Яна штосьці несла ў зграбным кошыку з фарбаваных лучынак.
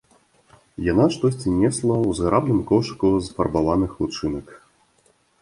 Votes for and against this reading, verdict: 2, 0, accepted